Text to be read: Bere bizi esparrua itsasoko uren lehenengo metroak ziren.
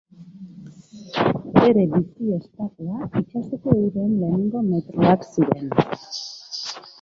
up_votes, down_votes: 0, 2